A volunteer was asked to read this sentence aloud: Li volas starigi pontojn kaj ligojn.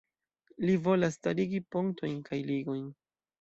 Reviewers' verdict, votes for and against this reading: accepted, 2, 0